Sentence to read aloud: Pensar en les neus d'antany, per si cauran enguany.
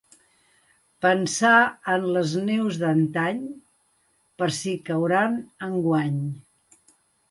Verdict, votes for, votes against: accepted, 2, 0